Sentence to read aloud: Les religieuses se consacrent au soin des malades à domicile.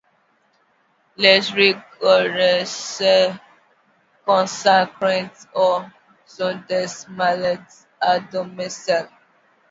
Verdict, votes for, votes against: rejected, 0, 2